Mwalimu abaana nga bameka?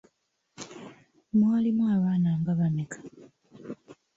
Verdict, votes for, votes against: rejected, 0, 2